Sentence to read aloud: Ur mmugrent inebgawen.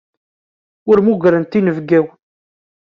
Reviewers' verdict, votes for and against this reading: accepted, 2, 0